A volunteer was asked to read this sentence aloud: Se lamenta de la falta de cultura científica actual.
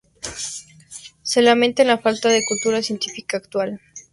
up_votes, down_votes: 0, 2